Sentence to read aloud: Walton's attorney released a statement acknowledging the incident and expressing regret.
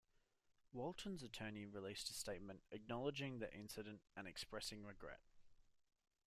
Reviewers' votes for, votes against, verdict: 2, 0, accepted